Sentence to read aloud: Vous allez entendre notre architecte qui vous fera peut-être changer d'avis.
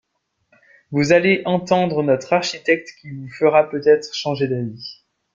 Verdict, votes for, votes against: rejected, 0, 2